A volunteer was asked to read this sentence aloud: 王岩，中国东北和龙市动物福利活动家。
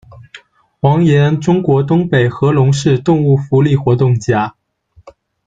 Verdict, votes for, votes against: accepted, 2, 0